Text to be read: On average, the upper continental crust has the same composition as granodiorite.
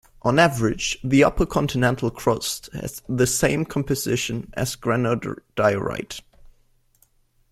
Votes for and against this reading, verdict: 0, 2, rejected